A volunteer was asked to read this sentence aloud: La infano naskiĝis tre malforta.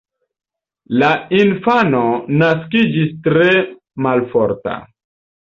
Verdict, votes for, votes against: accepted, 2, 0